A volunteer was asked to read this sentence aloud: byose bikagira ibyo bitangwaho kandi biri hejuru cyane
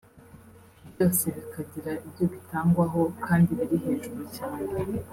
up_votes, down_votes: 2, 0